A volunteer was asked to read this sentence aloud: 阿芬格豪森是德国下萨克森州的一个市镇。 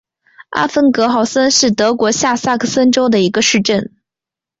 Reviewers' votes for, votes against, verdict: 5, 0, accepted